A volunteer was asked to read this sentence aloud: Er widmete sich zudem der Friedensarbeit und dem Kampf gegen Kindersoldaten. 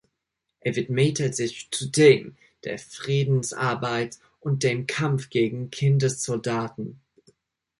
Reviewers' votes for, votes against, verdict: 1, 2, rejected